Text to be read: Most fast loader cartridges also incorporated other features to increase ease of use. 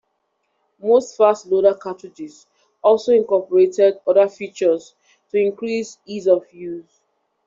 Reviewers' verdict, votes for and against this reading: accepted, 2, 0